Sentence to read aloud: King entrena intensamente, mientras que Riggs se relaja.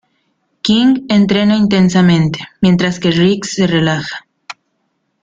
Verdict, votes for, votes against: accepted, 2, 0